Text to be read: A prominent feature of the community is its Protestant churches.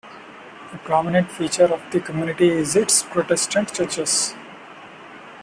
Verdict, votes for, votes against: accepted, 2, 1